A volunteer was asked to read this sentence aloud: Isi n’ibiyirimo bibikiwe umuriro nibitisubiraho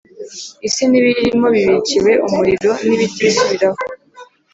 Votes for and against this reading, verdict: 3, 0, accepted